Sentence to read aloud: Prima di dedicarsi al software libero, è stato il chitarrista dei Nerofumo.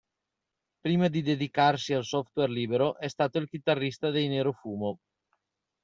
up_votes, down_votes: 2, 0